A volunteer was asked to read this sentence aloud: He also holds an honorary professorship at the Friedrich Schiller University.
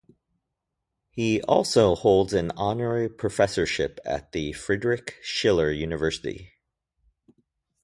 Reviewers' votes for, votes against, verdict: 2, 0, accepted